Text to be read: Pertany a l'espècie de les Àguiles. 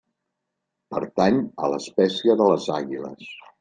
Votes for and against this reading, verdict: 3, 0, accepted